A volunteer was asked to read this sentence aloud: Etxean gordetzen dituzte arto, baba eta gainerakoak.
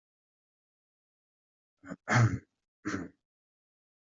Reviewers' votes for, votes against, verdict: 0, 2, rejected